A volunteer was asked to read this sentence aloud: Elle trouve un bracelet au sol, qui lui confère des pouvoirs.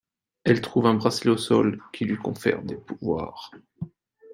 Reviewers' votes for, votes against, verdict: 2, 0, accepted